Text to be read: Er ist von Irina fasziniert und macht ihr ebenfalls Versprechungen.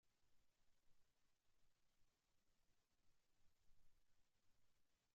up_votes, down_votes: 0, 2